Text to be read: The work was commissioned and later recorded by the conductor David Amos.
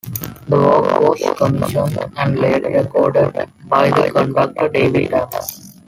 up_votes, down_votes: 1, 2